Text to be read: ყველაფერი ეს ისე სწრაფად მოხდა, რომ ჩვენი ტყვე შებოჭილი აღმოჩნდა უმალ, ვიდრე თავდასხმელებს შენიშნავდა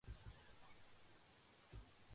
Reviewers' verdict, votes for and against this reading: rejected, 0, 2